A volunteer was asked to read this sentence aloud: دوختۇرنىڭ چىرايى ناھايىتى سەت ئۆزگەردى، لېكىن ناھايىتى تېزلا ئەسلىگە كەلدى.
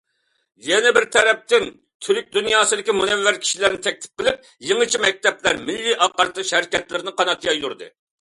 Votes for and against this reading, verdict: 0, 2, rejected